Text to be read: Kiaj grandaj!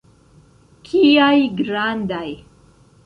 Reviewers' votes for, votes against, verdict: 0, 2, rejected